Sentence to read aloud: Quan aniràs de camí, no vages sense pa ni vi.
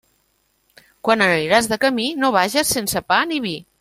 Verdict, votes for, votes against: accepted, 3, 0